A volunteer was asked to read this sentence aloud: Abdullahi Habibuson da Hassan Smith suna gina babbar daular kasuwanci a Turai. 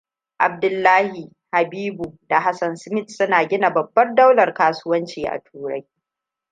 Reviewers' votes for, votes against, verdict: 2, 0, accepted